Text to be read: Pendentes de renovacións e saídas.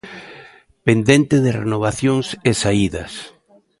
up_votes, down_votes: 0, 2